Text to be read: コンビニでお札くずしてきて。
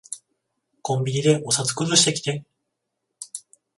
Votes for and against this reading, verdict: 0, 14, rejected